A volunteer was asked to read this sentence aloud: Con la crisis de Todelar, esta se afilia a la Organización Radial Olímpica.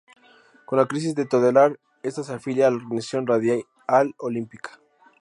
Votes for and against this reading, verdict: 0, 4, rejected